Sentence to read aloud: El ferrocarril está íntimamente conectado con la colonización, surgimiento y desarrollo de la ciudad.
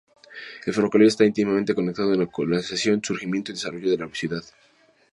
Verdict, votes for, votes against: rejected, 0, 2